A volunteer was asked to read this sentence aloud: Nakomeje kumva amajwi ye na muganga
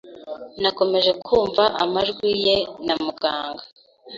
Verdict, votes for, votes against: accepted, 2, 0